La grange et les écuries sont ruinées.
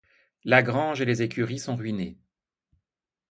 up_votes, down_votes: 2, 0